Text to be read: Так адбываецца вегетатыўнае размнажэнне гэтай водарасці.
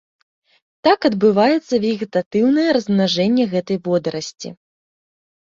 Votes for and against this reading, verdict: 2, 0, accepted